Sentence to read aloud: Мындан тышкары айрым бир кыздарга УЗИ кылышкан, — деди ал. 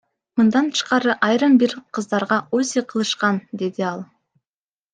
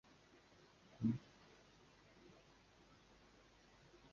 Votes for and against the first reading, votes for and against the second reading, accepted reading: 2, 1, 0, 2, first